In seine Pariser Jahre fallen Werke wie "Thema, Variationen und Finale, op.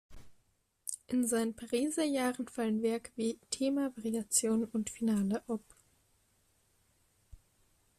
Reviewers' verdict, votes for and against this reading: accepted, 2, 0